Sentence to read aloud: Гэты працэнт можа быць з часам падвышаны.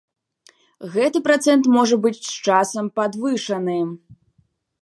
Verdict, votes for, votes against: accepted, 3, 0